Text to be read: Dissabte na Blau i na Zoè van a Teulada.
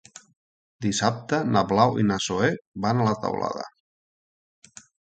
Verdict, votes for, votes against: rejected, 1, 3